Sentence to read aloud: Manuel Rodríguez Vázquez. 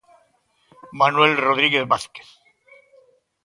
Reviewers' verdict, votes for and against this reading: accepted, 2, 0